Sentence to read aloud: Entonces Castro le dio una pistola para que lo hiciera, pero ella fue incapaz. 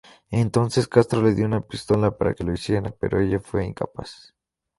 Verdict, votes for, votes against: accepted, 2, 0